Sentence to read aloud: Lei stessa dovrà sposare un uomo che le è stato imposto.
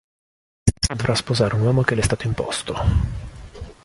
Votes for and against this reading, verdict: 0, 2, rejected